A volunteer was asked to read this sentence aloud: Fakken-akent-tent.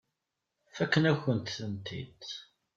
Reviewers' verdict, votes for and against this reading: rejected, 1, 2